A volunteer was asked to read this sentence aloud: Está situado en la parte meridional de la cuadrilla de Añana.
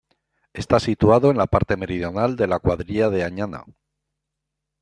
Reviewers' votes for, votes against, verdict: 2, 0, accepted